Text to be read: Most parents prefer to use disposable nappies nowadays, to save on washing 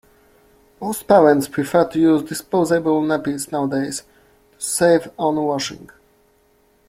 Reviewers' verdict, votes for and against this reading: accepted, 2, 1